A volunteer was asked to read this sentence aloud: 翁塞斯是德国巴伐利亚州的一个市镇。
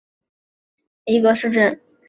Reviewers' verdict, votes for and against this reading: rejected, 1, 2